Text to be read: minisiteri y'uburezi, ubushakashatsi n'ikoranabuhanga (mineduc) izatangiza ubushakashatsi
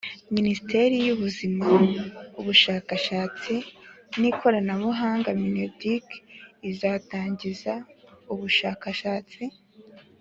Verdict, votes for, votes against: accepted, 3, 0